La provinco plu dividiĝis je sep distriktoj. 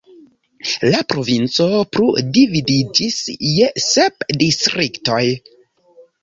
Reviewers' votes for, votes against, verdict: 1, 2, rejected